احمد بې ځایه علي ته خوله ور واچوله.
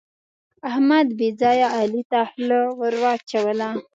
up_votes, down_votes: 2, 0